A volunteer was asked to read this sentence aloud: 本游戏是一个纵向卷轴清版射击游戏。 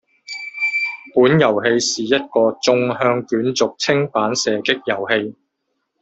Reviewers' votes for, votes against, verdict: 0, 2, rejected